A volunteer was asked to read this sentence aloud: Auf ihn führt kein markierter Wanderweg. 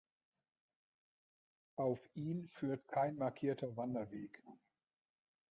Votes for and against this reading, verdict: 0, 2, rejected